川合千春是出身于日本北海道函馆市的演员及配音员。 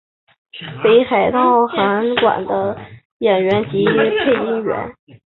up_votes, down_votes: 1, 3